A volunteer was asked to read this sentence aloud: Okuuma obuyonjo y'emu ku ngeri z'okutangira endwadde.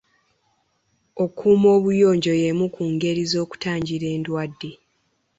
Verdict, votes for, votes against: accepted, 3, 2